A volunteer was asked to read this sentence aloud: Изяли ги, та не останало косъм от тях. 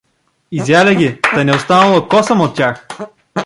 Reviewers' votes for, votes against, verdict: 0, 2, rejected